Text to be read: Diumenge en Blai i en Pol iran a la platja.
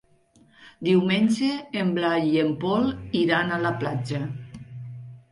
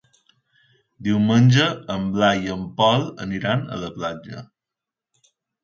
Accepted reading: first